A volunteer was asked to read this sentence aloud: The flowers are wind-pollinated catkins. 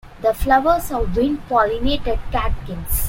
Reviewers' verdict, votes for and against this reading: accepted, 2, 1